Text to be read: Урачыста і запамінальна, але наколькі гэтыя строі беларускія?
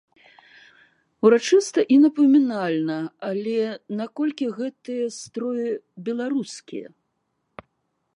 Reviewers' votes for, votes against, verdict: 0, 2, rejected